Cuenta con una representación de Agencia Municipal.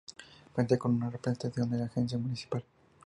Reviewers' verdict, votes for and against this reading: rejected, 0, 2